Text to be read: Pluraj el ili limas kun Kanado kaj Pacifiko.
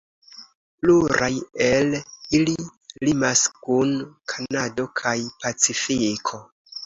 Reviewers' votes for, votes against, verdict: 2, 0, accepted